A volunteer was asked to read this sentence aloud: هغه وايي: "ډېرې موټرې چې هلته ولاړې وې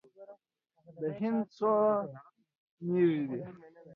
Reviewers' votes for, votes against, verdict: 0, 2, rejected